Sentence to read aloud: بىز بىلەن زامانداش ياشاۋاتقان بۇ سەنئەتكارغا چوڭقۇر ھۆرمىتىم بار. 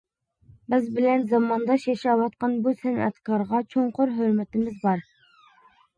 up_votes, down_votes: 0, 2